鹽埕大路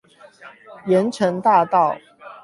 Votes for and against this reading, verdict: 4, 8, rejected